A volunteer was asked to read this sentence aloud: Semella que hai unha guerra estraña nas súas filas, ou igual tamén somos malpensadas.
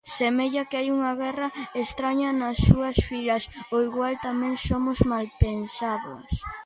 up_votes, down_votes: 2, 0